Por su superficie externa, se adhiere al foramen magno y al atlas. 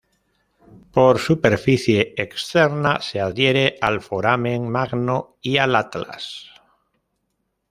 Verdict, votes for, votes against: rejected, 0, 2